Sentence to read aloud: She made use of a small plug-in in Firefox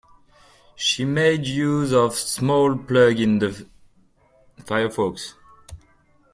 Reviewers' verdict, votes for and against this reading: rejected, 1, 2